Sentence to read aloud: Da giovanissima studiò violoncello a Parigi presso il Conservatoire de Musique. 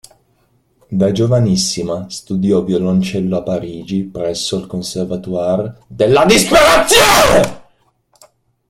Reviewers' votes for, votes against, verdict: 0, 2, rejected